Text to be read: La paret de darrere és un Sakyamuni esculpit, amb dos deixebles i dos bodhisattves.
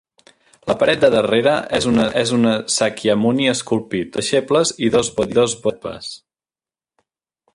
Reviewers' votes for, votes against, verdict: 0, 3, rejected